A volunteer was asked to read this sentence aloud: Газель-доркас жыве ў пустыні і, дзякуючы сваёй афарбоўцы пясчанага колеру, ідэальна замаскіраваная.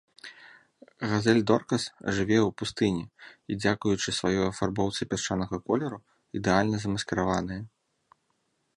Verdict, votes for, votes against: rejected, 1, 2